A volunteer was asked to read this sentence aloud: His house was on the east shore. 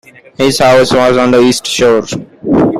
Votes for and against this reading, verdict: 0, 2, rejected